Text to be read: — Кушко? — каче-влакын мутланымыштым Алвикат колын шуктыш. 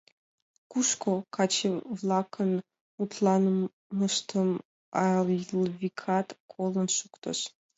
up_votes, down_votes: 1, 2